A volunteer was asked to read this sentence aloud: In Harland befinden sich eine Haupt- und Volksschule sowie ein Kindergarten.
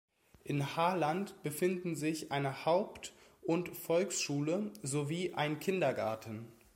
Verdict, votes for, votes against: accepted, 2, 1